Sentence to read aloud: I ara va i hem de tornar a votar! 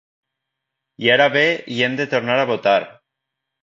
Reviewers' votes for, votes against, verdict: 1, 2, rejected